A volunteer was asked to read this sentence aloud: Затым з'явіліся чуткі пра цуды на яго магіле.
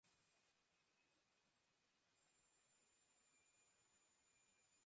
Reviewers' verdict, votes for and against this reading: rejected, 0, 2